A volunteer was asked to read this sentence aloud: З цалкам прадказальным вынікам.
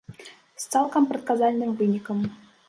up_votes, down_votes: 2, 1